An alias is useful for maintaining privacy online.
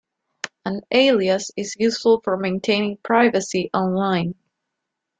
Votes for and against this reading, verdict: 2, 0, accepted